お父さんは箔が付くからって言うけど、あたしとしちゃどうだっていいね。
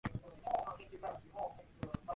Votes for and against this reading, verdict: 1, 2, rejected